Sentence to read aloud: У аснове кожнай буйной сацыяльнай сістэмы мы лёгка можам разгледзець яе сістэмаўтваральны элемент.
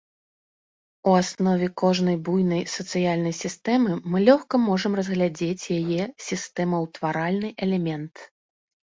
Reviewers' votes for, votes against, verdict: 2, 0, accepted